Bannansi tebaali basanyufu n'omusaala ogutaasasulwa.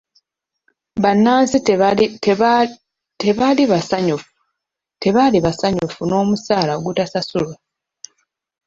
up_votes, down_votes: 1, 2